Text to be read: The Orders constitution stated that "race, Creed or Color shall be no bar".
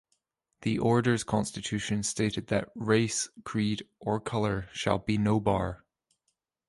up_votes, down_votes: 2, 0